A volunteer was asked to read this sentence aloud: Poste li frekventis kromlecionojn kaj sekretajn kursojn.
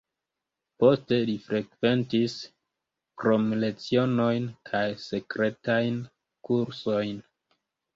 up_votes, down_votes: 2, 1